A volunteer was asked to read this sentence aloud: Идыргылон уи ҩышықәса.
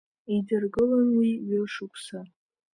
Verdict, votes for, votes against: accepted, 3, 0